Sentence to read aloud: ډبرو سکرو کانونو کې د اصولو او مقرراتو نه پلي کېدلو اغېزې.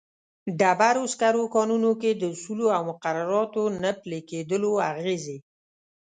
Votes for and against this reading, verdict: 2, 0, accepted